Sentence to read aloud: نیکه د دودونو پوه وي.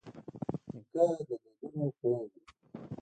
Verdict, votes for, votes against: rejected, 1, 2